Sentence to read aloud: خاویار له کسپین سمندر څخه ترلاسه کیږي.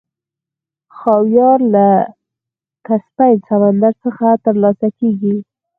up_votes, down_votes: 4, 2